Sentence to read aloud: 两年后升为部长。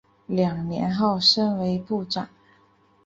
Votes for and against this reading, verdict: 3, 1, accepted